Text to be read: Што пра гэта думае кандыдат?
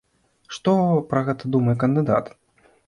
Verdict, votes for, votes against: accepted, 2, 0